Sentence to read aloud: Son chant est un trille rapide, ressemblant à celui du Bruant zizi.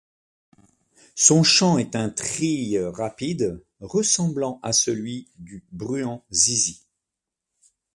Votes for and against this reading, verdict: 2, 0, accepted